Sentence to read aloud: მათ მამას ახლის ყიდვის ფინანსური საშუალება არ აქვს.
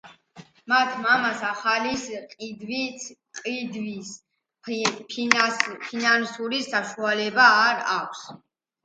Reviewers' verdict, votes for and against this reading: rejected, 0, 2